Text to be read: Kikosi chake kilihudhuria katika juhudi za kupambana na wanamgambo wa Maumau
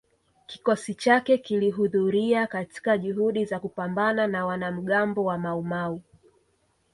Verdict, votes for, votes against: accepted, 2, 0